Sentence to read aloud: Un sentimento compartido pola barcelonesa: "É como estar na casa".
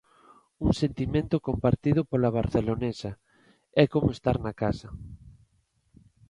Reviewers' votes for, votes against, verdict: 2, 0, accepted